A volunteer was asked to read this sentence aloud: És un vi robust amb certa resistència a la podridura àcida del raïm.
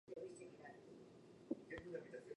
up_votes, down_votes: 0, 2